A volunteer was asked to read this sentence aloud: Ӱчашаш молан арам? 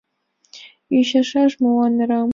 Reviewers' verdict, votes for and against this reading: accepted, 2, 0